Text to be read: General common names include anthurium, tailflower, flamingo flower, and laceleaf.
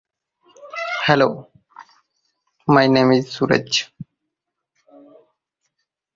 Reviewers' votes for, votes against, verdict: 0, 4, rejected